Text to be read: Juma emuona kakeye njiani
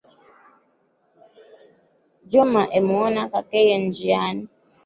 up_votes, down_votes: 2, 0